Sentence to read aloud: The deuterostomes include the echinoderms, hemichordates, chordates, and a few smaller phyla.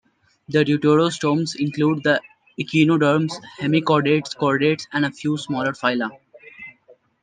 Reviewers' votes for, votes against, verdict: 2, 0, accepted